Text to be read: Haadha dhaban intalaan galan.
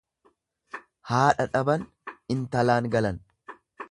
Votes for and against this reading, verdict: 2, 0, accepted